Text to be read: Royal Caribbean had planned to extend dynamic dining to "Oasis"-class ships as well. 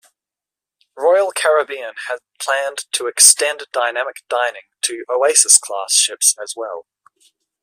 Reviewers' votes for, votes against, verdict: 1, 2, rejected